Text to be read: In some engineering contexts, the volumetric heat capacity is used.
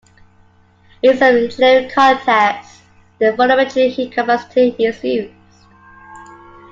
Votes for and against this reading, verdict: 0, 2, rejected